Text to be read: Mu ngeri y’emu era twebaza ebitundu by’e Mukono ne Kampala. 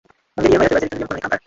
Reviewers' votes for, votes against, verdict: 0, 2, rejected